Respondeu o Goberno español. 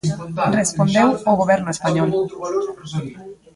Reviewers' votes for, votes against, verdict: 0, 2, rejected